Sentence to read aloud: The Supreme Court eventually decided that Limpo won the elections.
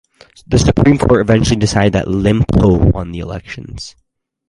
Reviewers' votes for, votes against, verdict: 0, 4, rejected